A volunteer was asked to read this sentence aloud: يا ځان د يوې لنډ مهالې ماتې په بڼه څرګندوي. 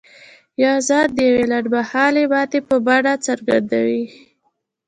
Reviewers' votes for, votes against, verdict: 2, 1, accepted